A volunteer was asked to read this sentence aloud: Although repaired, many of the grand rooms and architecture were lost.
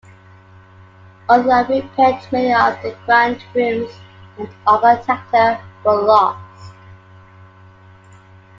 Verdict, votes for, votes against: rejected, 1, 2